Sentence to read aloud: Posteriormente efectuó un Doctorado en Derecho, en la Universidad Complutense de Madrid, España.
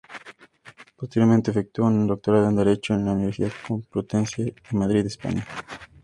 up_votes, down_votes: 2, 0